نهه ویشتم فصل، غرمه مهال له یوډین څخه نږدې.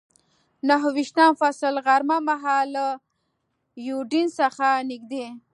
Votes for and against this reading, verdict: 3, 0, accepted